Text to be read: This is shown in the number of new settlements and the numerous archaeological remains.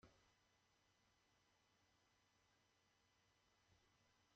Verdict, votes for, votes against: rejected, 0, 2